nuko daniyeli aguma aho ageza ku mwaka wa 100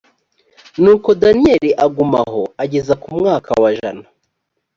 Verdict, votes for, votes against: rejected, 0, 2